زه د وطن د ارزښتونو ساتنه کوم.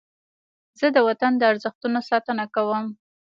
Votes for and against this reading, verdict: 2, 1, accepted